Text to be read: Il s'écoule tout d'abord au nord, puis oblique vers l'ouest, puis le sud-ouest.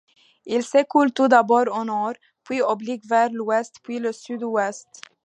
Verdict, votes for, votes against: accepted, 2, 0